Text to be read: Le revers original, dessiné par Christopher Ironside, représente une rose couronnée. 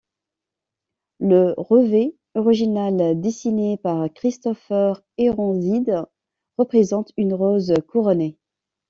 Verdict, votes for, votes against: rejected, 0, 2